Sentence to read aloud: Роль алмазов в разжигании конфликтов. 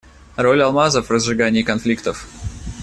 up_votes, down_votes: 2, 0